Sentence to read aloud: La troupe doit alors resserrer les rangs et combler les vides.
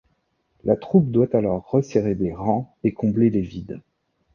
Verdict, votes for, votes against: accepted, 2, 1